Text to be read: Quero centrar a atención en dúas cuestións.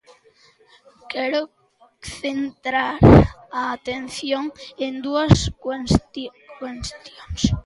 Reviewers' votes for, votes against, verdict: 0, 2, rejected